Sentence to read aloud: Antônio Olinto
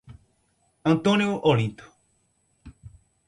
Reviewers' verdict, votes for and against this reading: rejected, 0, 2